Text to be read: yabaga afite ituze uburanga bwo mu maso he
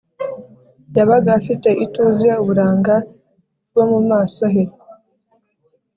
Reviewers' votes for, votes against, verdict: 2, 0, accepted